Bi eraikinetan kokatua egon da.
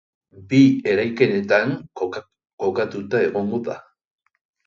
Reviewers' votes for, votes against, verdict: 1, 2, rejected